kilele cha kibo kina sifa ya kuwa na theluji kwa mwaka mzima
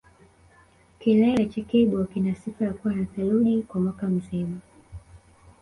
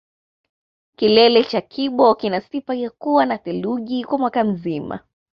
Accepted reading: second